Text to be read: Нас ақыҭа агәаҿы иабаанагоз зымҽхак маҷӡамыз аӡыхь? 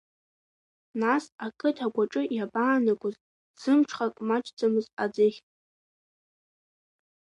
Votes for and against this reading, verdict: 3, 0, accepted